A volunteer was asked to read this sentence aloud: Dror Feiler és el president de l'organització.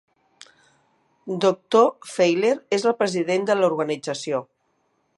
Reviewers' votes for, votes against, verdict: 0, 2, rejected